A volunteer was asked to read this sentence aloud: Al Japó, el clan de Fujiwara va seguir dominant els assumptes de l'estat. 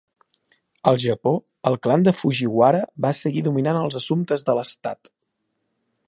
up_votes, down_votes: 3, 0